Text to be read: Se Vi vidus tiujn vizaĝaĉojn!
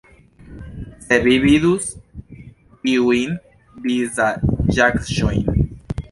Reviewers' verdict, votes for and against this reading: rejected, 1, 2